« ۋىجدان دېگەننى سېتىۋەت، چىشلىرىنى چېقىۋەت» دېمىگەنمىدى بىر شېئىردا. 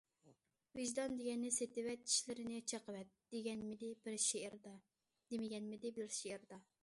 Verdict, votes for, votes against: rejected, 0, 2